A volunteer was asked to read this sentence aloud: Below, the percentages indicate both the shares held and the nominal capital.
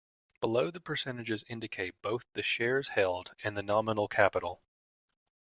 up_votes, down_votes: 2, 0